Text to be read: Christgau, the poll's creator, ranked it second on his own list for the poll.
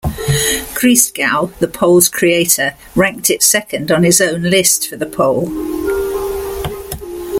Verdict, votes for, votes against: accepted, 2, 0